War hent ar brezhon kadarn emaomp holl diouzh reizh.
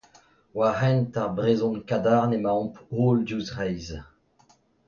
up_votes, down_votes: 2, 0